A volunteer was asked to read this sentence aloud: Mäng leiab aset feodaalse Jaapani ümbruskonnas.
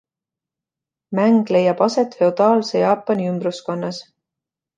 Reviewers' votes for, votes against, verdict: 2, 0, accepted